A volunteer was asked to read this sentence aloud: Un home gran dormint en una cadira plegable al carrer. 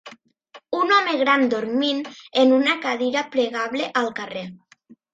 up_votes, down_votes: 2, 0